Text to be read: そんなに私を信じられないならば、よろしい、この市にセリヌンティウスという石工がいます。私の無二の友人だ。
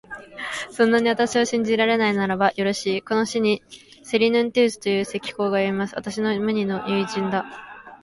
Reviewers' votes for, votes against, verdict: 2, 2, rejected